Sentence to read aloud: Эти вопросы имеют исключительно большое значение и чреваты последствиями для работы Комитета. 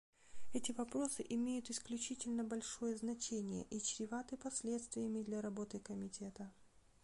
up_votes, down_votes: 0, 2